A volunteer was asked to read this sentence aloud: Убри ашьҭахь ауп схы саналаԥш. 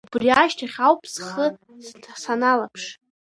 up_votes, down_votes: 1, 2